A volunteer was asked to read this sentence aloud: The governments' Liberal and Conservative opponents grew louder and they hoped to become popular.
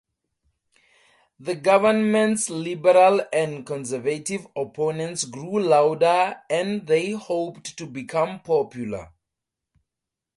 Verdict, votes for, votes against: rejected, 0, 2